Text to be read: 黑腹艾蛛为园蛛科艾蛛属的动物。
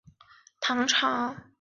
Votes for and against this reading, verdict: 1, 4, rejected